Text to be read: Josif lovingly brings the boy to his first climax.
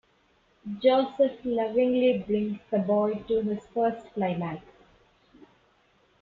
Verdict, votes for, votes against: accepted, 2, 0